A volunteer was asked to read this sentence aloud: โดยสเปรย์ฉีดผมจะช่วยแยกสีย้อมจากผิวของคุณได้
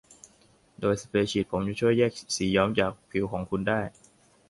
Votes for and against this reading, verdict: 1, 2, rejected